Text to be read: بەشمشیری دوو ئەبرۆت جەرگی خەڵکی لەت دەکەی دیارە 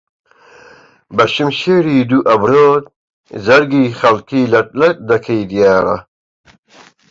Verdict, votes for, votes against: rejected, 0, 2